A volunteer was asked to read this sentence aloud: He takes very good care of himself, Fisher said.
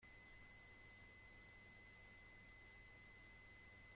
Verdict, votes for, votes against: rejected, 1, 2